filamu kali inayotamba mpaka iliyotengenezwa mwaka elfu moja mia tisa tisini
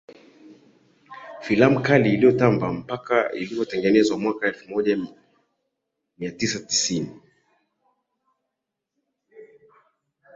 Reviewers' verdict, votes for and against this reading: accepted, 4, 1